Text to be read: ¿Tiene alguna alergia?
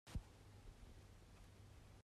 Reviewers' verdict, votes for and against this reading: rejected, 0, 2